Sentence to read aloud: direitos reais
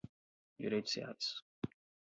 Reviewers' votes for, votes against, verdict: 4, 0, accepted